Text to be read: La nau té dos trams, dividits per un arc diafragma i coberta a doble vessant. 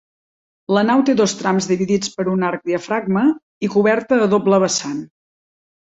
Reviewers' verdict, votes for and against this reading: rejected, 1, 2